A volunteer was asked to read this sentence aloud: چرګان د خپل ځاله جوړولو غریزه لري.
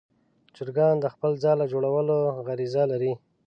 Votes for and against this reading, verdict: 2, 0, accepted